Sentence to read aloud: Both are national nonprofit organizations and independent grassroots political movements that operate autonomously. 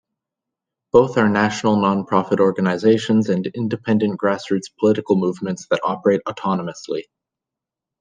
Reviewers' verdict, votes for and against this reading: accepted, 2, 0